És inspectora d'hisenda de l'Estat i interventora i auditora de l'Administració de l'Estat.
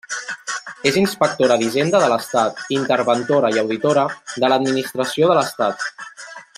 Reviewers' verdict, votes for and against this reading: rejected, 1, 3